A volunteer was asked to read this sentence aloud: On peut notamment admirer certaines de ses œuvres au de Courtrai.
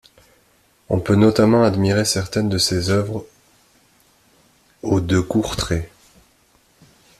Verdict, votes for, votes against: rejected, 0, 2